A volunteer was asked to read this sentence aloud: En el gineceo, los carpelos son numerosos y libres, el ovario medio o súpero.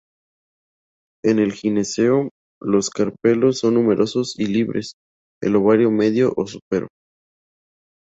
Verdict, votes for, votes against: rejected, 0, 2